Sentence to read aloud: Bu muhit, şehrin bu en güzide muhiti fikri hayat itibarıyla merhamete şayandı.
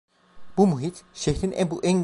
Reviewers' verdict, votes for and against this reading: rejected, 0, 2